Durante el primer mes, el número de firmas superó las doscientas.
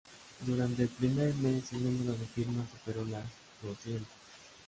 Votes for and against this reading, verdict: 2, 0, accepted